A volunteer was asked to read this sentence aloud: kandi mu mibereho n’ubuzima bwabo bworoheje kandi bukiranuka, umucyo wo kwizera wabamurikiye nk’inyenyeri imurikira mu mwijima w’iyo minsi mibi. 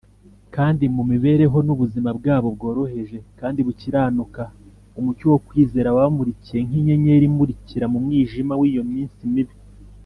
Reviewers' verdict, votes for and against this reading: accepted, 4, 0